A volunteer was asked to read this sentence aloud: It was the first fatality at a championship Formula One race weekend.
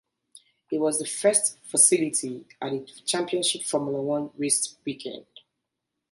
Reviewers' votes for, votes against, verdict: 1, 2, rejected